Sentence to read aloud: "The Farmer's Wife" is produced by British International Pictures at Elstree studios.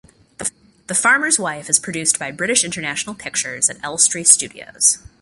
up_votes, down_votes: 2, 0